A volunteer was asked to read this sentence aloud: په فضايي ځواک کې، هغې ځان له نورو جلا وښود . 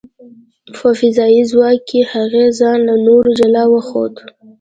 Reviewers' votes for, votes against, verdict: 2, 0, accepted